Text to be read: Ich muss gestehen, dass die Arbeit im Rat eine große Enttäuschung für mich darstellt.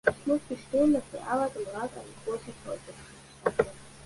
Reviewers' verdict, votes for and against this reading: rejected, 1, 2